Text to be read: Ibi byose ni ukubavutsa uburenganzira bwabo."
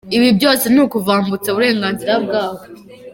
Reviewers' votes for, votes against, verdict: 1, 2, rejected